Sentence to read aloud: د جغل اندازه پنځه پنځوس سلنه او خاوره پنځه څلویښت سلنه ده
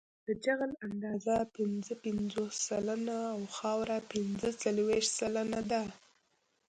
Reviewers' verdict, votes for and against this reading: accepted, 2, 0